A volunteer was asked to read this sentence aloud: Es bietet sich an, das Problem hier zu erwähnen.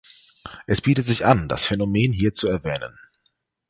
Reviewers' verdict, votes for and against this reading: rejected, 0, 2